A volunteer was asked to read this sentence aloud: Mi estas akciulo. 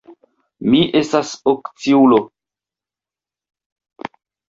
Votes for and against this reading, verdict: 0, 2, rejected